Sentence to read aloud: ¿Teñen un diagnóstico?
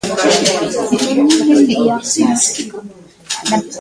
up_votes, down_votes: 0, 2